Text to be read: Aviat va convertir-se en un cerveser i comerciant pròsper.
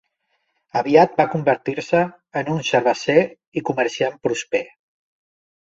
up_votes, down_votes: 0, 2